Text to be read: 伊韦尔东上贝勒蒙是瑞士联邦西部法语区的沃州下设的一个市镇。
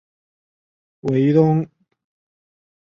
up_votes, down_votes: 0, 4